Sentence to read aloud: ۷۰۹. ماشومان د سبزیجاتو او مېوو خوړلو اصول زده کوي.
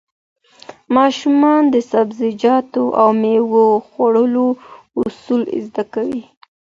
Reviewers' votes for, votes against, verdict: 0, 2, rejected